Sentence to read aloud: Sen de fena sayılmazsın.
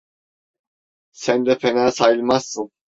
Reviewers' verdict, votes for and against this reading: accepted, 2, 0